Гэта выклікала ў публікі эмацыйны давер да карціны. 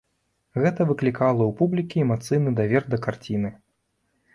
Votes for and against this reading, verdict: 2, 1, accepted